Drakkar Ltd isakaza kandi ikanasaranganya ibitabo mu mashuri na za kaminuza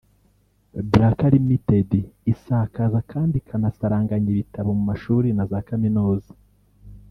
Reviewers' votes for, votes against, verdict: 1, 2, rejected